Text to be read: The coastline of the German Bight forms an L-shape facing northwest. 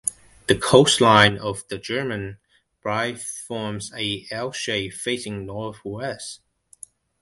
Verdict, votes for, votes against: rejected, 1, 2